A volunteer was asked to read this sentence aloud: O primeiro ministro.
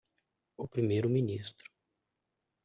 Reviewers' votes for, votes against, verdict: 2, 0, accepted